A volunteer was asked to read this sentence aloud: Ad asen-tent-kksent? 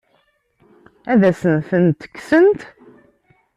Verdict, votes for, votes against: accepted, 2, 0